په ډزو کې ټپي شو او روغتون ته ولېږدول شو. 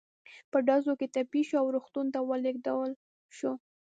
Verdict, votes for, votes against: rejected, 1, 2